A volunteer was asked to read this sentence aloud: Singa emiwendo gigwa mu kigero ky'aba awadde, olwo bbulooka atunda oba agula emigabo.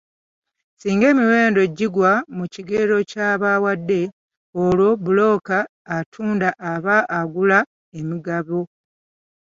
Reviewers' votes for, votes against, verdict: 1, 2, rejected